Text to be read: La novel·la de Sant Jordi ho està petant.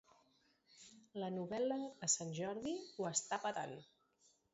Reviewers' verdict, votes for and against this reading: rejected, 1, 2